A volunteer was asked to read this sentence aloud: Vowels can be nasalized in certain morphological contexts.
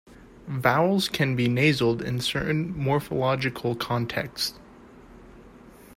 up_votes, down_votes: 1, 2